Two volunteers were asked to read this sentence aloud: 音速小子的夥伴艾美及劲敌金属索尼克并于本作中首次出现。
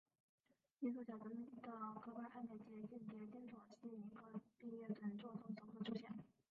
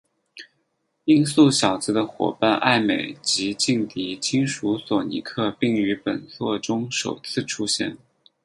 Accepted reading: second